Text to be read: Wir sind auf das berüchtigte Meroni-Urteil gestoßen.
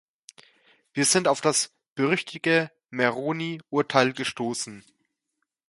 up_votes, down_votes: 0, 2